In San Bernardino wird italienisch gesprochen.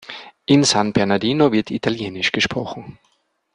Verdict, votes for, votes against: accepted, 2, 0